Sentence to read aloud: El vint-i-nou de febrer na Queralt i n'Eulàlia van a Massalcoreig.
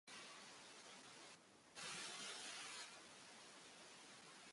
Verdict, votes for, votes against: rejected, 0, 5